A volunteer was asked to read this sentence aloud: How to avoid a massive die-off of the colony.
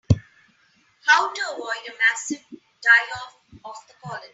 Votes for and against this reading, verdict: 0, 2, rejected